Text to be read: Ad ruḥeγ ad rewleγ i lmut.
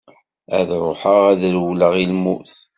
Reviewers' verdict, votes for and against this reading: accepted, 2, 0